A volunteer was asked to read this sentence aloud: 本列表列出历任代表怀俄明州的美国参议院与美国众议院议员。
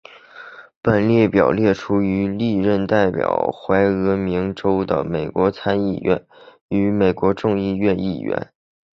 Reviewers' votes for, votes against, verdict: 0, 2, rejected